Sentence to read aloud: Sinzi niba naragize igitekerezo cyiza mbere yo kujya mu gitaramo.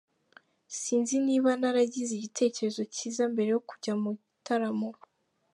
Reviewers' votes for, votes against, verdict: 2, 0, accepted